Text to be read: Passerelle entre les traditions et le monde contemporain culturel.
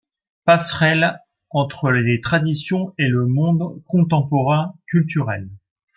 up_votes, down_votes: 2, 0